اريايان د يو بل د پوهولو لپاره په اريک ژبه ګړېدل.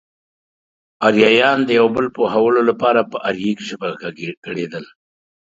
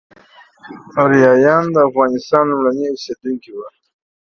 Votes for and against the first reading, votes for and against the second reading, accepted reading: 3, 0, 1, 2, first